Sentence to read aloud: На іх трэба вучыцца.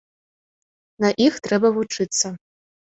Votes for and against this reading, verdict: 2, 0, accepted